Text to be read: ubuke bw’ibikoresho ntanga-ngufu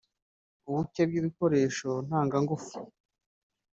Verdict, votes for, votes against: rejected, 0, 2